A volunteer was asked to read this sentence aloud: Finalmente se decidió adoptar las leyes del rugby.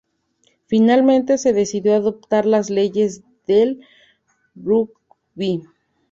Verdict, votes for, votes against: accepted, 2, 0